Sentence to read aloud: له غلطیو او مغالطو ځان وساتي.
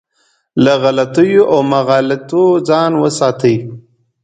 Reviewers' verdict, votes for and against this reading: accepted, 2, 0